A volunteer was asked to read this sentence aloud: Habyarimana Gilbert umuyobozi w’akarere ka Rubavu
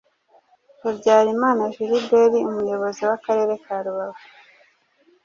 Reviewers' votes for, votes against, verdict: 2, 0, accepted